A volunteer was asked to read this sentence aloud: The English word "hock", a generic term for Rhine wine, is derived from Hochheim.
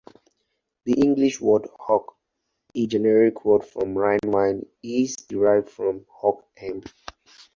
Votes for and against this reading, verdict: 2, 2, rejected